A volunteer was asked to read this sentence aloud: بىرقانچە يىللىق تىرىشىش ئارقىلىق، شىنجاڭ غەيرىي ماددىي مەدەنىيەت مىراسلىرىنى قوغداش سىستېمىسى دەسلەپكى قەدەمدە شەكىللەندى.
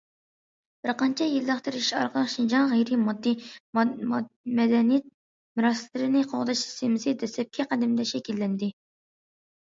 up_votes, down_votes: 0, 2